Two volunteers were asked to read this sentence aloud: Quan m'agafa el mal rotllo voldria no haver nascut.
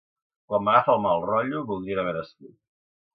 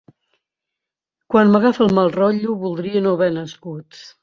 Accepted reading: second